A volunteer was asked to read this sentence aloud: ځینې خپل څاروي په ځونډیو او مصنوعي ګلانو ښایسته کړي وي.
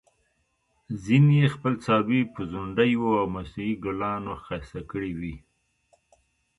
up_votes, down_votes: 1, 2